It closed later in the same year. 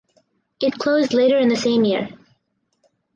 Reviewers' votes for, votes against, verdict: 4, 0, accepted